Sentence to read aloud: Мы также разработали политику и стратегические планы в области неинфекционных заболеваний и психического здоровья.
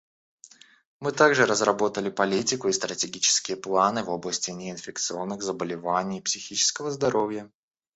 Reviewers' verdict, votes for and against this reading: rejected, 1, 2